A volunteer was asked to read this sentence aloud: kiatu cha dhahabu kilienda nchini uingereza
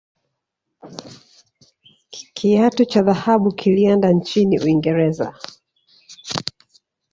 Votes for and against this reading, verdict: 1, 2, rejected